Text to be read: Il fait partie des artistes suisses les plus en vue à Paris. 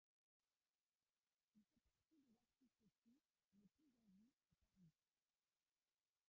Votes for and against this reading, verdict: 0, 2, rejected